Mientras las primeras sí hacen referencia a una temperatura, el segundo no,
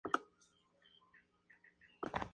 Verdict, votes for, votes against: rejected, 0, 2